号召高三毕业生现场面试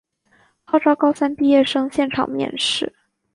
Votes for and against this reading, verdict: 3, 0, accepted